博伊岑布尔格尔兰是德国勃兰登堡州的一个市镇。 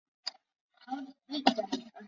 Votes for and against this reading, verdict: 0, 2, rejected